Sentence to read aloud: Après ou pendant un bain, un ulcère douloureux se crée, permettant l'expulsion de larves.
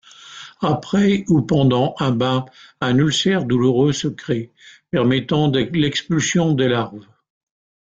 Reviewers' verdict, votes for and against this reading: rejected, 0, 2